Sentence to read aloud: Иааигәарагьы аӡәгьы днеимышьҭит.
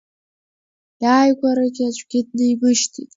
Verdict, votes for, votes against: accepted, 3, 1